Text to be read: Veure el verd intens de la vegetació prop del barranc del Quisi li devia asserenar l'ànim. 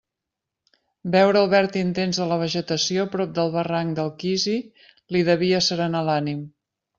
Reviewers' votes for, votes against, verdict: 2, 0, accepted